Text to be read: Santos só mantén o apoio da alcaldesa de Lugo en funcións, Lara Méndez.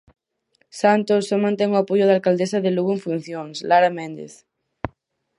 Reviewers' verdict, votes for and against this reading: accepted, 4, 0